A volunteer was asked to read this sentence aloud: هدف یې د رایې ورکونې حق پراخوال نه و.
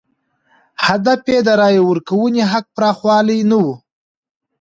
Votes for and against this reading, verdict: 2, 0, accepted